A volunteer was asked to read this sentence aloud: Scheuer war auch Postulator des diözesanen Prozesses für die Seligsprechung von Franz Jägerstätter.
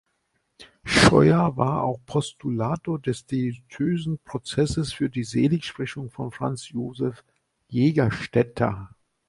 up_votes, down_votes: 1, 2